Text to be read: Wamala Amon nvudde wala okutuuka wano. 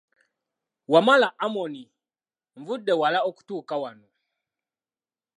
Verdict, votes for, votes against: accepted, 2, 1